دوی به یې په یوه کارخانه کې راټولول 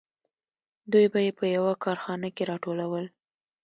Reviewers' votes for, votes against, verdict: 2, 0, accepted